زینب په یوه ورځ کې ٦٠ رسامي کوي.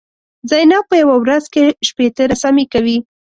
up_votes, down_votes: 0, 2